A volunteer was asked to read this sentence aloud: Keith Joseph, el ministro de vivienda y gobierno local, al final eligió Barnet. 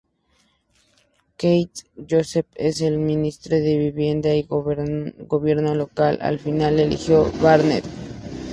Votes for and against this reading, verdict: 0, 2, rejected